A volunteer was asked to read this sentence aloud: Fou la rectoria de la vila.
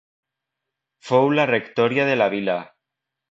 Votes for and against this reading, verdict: 0, 2, rejected